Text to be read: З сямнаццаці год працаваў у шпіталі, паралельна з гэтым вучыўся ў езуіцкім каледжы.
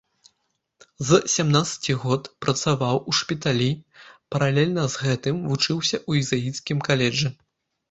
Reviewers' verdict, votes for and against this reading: rejected, 1, 2